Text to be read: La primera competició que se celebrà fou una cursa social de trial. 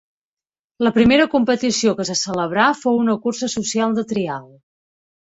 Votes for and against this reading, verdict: 2, 0, accepted